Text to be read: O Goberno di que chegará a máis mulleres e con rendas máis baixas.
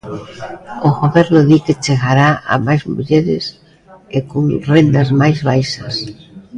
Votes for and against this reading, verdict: 2, 0, accepted